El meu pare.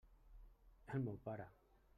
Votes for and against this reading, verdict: 3, 0, accepted